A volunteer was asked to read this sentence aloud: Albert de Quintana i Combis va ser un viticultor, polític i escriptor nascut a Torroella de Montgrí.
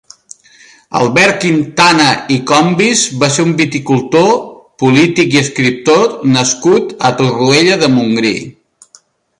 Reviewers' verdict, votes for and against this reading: rejected, 1, 2